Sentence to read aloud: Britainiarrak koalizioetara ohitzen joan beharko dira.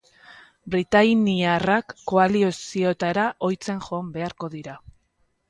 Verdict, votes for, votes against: rejected, 0, 2